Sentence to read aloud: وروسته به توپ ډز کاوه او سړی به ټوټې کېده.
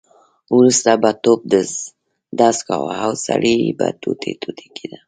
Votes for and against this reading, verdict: 1, 2, rejected